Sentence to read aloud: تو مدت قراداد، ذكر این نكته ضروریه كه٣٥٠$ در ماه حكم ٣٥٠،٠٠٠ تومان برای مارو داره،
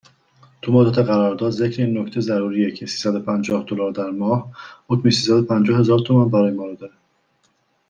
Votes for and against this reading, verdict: 0, 2, rejected